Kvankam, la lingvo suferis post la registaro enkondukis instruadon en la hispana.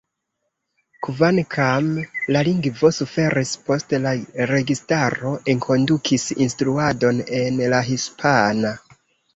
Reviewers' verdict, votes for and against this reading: rejected, 1, 2